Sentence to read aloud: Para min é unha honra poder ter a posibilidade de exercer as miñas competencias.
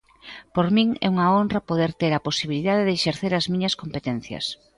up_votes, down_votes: 1, 2